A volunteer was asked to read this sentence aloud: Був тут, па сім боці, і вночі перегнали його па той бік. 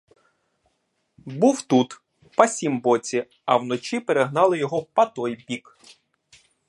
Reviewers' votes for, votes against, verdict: 1, 2, rejected